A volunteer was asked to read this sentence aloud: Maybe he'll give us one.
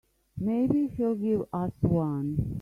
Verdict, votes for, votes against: accepted, 2, 0